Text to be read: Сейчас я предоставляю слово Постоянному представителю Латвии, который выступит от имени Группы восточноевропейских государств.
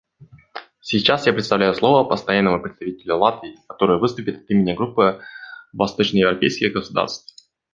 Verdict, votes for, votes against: rejected, 1, 2